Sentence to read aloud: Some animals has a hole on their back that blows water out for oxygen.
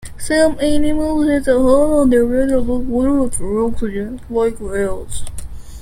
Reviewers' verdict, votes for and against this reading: rejected, 0, 2